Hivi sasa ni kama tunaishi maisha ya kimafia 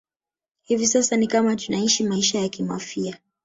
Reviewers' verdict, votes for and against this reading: rejected, 1, 2